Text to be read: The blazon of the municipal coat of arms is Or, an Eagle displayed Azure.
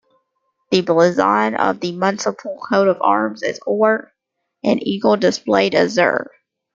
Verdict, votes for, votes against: rejected, 0, 2